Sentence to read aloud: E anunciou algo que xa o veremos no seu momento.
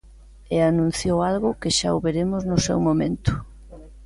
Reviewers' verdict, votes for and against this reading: accepted, 3, 0